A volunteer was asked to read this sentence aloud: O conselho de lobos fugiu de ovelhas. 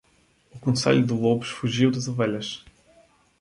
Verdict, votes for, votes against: rejected, 0, 2